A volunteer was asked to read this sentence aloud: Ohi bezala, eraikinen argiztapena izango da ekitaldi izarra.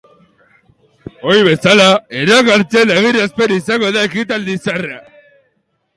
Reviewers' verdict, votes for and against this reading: rejected, 0, 2